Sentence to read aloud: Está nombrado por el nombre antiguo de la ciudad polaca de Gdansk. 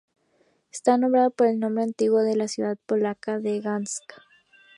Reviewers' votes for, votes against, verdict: 0, 2, rejected